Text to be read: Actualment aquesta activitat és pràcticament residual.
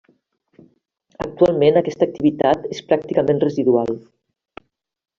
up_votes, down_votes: 1, 2